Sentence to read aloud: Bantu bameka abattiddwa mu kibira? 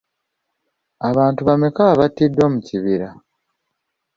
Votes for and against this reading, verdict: 1, 2, rejected